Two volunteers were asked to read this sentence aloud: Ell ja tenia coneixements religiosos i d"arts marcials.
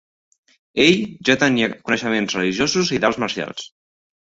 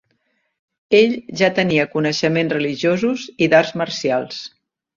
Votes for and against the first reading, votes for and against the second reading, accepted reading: 0, 2, 2, 1, second